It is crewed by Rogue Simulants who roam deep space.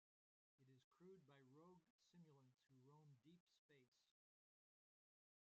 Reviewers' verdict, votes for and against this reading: rejected, 0, 2